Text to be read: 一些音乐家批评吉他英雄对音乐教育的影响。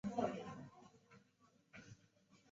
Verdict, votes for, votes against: rejected, 0, 3